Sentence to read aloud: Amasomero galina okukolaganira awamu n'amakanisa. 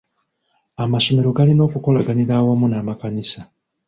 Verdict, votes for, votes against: accepted, 2, 1